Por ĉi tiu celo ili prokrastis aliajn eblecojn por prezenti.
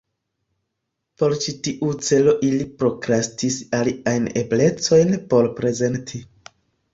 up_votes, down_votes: 2, 0